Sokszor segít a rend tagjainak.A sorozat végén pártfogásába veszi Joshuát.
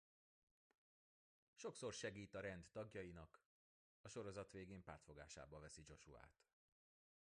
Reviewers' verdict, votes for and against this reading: rejected, 0, 2